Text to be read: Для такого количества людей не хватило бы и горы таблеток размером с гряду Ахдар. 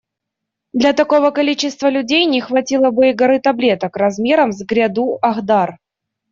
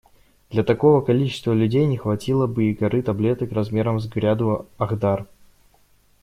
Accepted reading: first